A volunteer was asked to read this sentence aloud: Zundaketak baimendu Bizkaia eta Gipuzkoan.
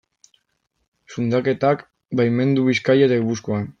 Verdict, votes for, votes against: accepted, 2, 0